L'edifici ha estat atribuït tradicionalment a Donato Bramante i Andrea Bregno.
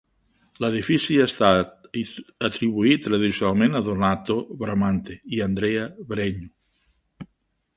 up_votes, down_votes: 1, 2